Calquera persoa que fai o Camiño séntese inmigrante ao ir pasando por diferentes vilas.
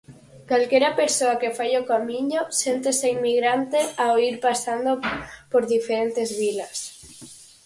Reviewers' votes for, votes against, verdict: 4, 0, accepted